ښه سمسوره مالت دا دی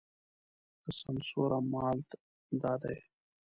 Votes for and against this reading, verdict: 0, 2, rejected